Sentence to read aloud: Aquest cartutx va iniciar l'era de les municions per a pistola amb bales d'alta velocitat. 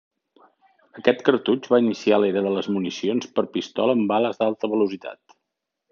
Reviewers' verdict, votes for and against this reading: accepted, 2, 0